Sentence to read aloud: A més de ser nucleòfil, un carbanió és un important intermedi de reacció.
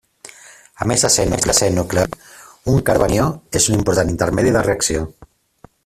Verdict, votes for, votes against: rejected, 0, 2